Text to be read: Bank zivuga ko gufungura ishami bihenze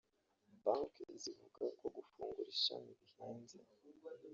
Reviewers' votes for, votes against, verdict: 0, 2, rejected